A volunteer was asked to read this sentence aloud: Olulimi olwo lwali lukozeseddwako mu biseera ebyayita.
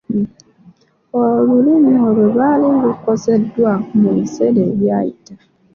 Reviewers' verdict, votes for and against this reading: accepted, 2, 0